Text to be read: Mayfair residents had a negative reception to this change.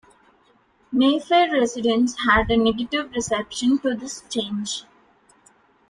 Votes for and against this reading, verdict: 2, 0, accepted